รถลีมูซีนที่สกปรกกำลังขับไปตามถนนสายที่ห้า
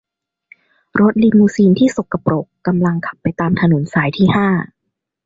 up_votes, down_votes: 2, 0